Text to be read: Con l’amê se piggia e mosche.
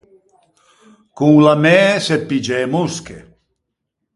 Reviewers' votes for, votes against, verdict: 4, 0, accepted